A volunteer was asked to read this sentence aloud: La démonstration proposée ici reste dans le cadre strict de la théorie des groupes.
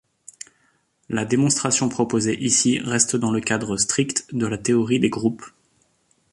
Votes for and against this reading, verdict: 2, 0, accepted